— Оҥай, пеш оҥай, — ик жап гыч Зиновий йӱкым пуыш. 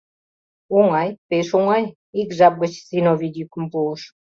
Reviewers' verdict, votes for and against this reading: accepted, 2, 0